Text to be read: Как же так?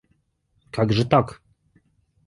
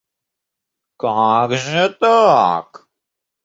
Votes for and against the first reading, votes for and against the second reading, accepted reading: 2, 0, 1, 2, first